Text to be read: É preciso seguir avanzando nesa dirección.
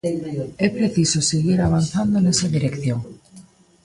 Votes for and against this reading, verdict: 0, 2, rejected